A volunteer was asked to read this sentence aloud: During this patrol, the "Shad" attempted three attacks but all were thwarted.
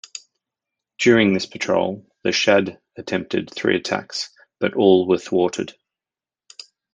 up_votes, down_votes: 2, 0